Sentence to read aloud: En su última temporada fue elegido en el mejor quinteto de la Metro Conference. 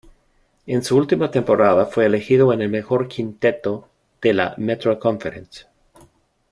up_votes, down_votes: 2, 0